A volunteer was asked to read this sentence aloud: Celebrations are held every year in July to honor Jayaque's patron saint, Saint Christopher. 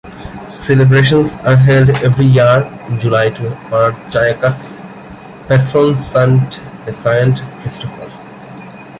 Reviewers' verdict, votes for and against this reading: accepted, 2, 0